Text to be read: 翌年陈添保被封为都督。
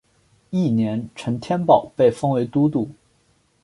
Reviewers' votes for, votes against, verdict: 4, 0, accepted